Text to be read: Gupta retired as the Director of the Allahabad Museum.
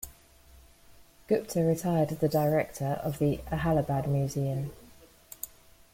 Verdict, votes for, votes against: rejected, 0, 2